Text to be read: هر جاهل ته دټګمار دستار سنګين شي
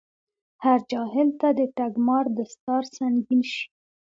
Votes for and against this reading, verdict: 2, 0, accepted